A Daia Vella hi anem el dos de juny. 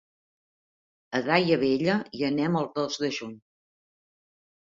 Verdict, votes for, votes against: accepted, 2, 0